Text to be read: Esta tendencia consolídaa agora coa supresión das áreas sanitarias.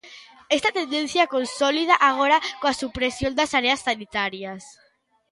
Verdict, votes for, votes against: rejected, 0, 2